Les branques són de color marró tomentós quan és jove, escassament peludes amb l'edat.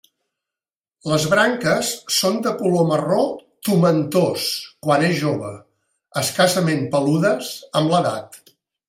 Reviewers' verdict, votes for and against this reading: accepted, 2, 0